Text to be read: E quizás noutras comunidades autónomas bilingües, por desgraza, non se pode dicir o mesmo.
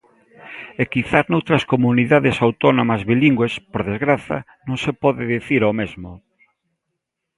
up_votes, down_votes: 2, 0